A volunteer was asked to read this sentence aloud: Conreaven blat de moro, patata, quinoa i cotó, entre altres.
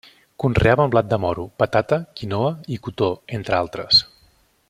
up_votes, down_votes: 2, 0